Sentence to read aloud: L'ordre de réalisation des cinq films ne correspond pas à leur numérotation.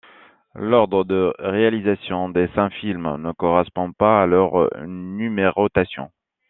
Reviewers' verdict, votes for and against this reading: accepted, 2, 1